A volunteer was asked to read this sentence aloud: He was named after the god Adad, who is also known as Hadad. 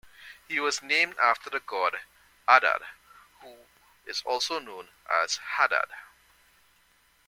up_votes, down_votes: 0, 2